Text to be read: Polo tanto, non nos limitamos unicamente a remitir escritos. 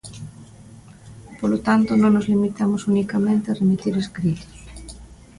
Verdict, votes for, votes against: accepted, 2, 0